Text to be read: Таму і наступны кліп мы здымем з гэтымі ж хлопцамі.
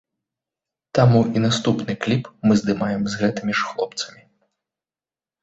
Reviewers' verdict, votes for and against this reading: rejected, 0, 2